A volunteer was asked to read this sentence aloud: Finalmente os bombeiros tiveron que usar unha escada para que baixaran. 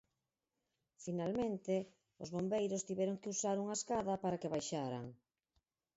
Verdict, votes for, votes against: rejected, 0, 4